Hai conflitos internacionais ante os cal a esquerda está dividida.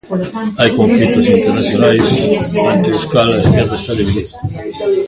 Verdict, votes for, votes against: rejected, 0, 2